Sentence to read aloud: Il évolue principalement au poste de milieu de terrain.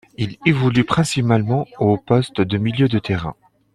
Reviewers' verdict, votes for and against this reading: rejected, 0, 2